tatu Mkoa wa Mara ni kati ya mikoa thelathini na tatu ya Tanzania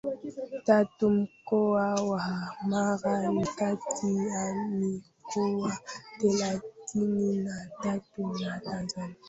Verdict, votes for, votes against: rejected, 0, 2